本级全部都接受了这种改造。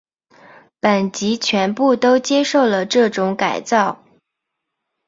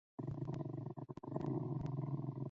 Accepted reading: first